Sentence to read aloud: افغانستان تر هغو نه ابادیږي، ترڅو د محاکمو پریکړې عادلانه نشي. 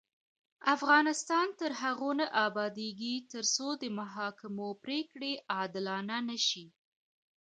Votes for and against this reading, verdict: 2, 0, accepted